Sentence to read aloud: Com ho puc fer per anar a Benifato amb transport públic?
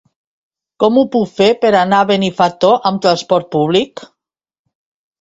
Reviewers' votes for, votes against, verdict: 1, 2, rejected